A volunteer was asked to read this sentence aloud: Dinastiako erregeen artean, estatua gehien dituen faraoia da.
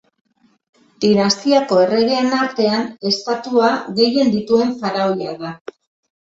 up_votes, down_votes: 2, 0